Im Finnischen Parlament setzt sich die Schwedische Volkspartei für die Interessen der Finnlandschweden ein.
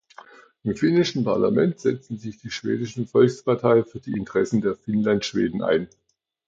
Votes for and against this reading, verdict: 1, 2, rejected